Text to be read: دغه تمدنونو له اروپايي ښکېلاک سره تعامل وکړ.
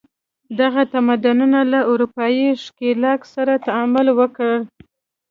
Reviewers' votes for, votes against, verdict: 2, 0, accepted